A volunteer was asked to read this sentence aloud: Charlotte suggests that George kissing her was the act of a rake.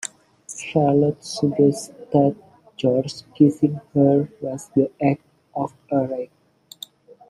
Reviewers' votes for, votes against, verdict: 1, 2, rejected